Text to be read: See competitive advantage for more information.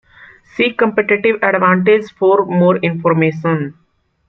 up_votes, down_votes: 2, 0